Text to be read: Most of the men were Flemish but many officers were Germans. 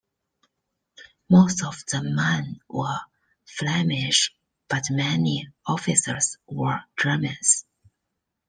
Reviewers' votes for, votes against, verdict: 0, 2, rejected